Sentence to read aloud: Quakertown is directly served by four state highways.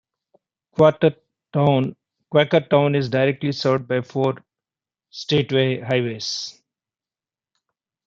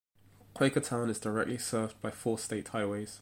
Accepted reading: second